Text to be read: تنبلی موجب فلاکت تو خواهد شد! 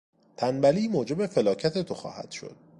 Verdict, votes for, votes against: accepted, 2, 0